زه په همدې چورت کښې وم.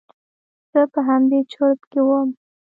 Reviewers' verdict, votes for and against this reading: accepted, 2, 0